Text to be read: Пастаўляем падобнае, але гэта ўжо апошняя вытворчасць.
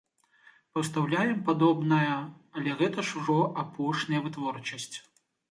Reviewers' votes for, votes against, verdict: 1, 2, rejected